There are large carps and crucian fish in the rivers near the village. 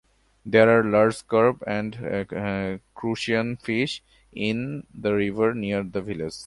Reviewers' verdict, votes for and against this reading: rejected, 1, 2